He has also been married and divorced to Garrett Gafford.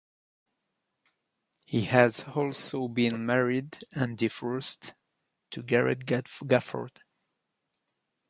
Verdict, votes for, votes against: rejected, 0, 2